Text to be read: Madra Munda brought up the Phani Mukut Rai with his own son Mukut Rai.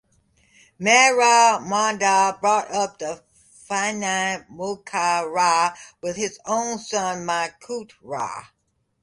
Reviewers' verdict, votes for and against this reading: rejected, 0, 2